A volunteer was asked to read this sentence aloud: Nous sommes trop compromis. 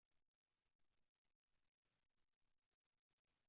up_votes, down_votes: 0, 2